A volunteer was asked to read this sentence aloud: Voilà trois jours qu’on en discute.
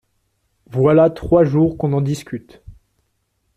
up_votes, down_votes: 2, 0